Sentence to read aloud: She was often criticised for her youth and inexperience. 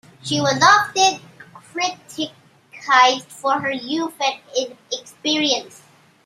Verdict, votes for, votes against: rejected, 0, 2